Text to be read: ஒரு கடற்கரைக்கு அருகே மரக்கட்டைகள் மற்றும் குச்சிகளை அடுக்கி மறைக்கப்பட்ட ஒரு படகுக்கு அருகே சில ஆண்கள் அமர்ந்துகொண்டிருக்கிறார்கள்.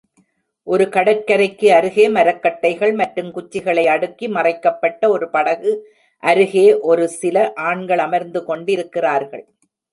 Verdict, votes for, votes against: rejected, 1, 2